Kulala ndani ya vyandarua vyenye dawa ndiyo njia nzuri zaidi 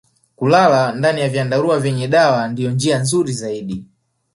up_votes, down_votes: 1, 2